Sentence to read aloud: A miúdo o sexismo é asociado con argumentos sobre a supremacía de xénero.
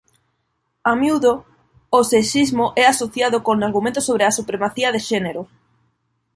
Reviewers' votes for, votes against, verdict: 2, 1, accepted